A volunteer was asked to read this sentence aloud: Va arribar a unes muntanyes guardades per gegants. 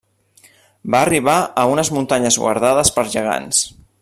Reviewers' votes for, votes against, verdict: 3, 0, accepted